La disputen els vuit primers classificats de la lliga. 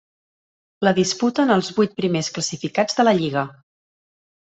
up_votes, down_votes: 3, 0